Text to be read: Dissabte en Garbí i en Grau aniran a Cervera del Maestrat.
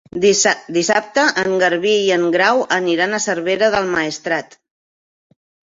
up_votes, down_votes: 0, 2